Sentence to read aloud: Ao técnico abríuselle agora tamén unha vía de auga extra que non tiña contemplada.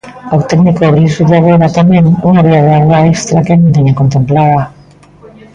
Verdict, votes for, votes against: rejected, 0, 2